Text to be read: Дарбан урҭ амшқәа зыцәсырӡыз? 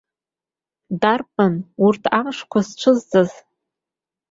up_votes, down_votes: 1, 2